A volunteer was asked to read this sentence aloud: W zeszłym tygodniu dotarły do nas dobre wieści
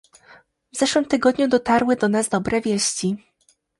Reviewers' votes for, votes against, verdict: 2, 0, accepted